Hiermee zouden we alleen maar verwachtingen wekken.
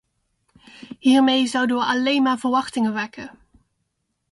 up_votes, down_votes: 2, 0